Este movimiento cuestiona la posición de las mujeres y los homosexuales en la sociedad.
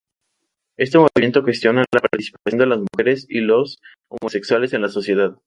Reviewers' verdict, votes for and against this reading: accepted, 2, 0